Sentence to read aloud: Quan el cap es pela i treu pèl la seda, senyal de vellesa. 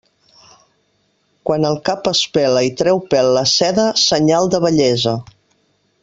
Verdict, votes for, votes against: accepted, 2, 0